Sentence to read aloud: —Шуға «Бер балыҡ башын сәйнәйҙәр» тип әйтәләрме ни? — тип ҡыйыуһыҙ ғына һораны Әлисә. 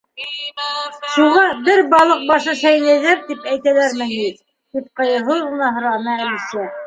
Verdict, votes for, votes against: rejected, 0, 2